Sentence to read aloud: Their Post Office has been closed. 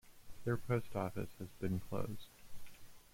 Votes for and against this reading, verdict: 2, 0, accepted